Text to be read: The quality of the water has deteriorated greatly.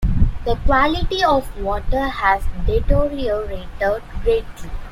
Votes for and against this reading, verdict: 0, 2, rejected